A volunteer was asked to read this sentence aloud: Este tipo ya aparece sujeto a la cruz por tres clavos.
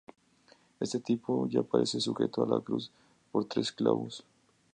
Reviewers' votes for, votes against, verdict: 2, 0, accepted